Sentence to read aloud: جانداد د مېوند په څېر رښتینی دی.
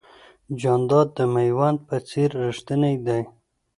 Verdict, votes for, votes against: accepted, 2, 0